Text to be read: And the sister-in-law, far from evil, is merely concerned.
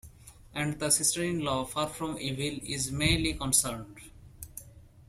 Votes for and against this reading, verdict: 2, 0, accepted